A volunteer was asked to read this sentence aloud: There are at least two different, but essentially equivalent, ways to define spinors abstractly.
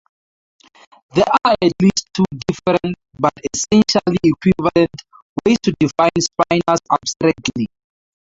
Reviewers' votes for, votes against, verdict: 0, 2, rejected